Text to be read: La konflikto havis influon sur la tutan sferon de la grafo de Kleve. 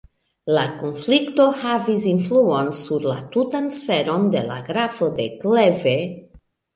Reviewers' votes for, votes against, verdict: 1, 2, rejected